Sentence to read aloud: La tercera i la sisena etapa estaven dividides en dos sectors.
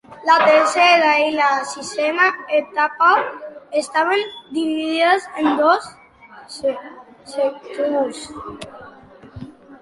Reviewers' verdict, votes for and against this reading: rejected, 0, 3